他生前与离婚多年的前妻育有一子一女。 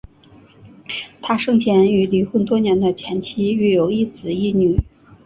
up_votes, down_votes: 3, 1